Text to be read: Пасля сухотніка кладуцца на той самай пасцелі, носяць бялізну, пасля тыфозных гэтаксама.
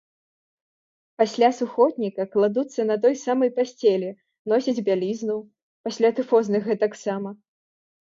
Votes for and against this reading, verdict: 2, 0, accepted